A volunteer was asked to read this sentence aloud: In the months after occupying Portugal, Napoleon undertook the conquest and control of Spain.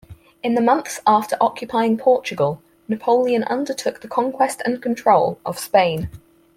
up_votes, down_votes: 4, 0